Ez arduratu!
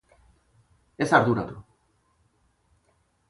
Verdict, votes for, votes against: accepted, 2, 0